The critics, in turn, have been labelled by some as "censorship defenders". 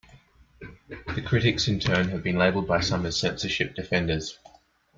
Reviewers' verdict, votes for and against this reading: accepted, 2, 0